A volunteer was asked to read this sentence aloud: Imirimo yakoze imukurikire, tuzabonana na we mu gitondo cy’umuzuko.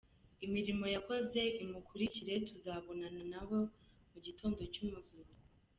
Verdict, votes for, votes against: accepted, 2, 0